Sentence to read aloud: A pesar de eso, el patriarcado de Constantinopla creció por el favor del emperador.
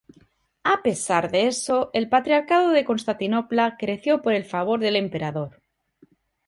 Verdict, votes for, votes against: rejected, 0, 2